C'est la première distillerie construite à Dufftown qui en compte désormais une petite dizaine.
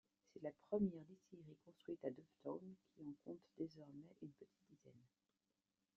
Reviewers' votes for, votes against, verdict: 1, 2, rejected